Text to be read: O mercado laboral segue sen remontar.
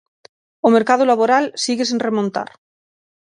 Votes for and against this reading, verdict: 0, 6, rejected